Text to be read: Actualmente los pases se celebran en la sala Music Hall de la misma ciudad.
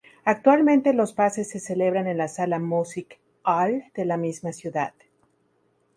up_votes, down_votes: 4, 2